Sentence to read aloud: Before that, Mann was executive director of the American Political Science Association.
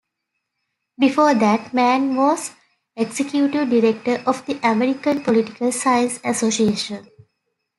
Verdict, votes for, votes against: accepted, 2, 0